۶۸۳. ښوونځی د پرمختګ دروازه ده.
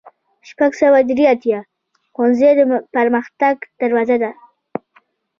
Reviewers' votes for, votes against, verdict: 0, 2, rejected